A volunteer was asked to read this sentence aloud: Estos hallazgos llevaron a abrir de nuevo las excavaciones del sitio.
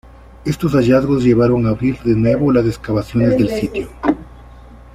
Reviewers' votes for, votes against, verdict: 2, 0, accepted